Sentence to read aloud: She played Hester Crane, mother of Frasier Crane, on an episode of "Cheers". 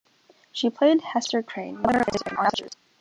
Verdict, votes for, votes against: rejected, 1, 2